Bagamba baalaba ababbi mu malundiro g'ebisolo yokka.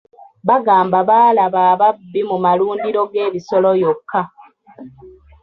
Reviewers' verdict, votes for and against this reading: accepted, 2, 0